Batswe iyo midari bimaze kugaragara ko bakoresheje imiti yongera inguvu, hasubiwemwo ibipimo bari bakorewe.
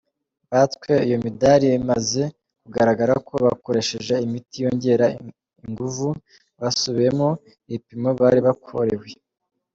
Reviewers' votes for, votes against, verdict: 2, 0, accepted